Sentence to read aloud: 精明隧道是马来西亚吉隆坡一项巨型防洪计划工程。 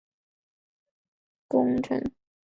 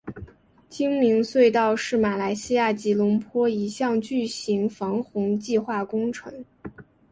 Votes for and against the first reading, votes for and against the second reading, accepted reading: 0, 3, 2, 0, second